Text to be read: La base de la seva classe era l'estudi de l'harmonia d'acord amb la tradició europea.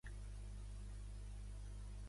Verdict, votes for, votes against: rejected, 0, 2